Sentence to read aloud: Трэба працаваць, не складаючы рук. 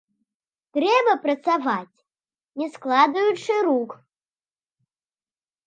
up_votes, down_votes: 0, 2